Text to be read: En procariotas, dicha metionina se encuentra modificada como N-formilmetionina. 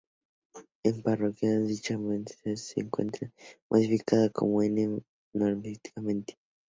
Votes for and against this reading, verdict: 0, 4, rejected